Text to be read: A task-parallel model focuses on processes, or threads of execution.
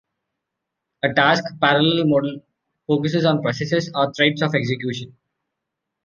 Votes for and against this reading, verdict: 1, 2, rejected